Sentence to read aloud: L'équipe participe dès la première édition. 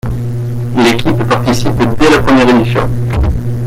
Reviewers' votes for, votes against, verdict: 2, 0, accepted